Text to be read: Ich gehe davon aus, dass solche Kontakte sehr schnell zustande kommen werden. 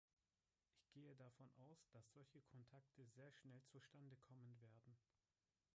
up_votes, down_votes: 1, 3